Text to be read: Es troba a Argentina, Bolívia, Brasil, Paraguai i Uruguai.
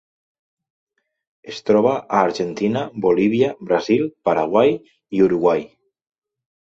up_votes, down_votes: 2, 0